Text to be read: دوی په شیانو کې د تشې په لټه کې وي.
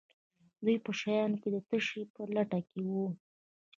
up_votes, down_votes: 2, 0